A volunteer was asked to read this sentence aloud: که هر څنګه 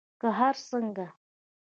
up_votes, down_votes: 2, 0